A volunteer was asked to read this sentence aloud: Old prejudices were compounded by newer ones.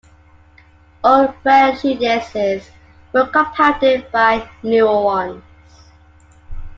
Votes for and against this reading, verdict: 2, 1, accepted